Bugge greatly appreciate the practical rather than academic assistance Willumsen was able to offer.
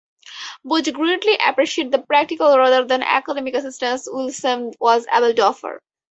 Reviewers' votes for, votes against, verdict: 4, 0, accepted